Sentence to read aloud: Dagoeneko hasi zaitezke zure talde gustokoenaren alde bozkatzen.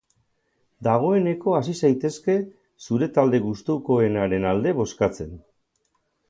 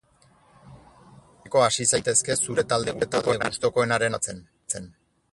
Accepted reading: first